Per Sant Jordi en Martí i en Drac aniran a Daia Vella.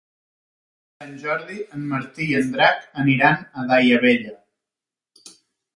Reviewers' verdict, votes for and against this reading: rejected, 2, 3